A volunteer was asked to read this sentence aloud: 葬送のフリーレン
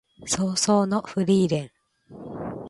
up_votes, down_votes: 2, 0